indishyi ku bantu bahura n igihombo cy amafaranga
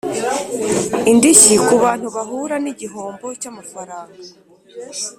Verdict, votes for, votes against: accepted, 3, 0